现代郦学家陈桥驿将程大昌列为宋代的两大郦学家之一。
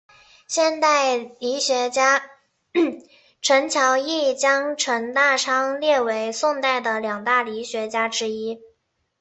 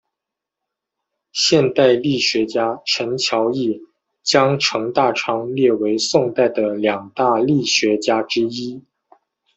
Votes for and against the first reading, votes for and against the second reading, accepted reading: 1, 2, 2, 0, second